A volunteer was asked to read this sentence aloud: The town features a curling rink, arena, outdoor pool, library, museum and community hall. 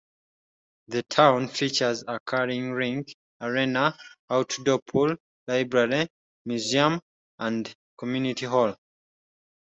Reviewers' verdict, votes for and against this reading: accepted, 2, 0